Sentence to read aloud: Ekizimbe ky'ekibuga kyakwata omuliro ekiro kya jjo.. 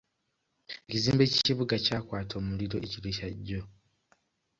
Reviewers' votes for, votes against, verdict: 0, 2, rejected